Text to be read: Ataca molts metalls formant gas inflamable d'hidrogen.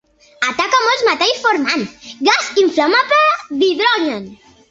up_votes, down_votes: 1, 2